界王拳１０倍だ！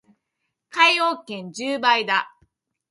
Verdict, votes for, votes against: rejected, 0, 2